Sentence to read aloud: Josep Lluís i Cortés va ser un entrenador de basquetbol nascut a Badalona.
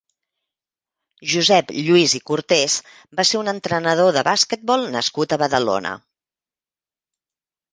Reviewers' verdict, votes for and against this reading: rejected, 1, 2